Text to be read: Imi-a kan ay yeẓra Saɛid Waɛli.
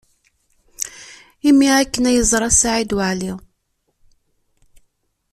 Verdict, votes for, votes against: rejected, 1, 2